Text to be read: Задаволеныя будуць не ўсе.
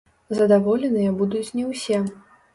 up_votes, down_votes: 1, 2